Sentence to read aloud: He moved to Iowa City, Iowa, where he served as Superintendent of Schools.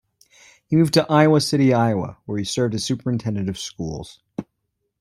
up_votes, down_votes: 2, 0